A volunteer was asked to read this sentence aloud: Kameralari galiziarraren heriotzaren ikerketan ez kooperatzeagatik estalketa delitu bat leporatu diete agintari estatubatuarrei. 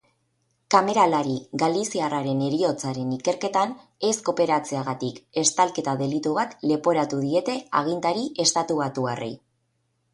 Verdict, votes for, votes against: accepted, 4, 0